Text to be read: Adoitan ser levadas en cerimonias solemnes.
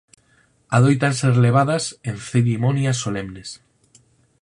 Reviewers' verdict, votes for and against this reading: rejected, 0, 4